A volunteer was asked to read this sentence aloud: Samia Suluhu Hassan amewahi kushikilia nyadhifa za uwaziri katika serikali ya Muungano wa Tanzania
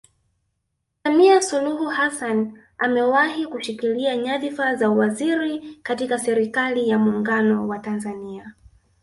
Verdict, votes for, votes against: rejected, 1, 2